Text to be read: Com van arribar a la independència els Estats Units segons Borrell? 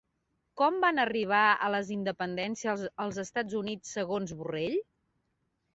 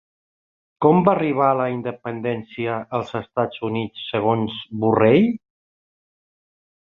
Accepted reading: second